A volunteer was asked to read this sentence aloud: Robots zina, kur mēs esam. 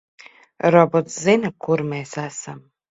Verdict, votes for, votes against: accepted, 4, 0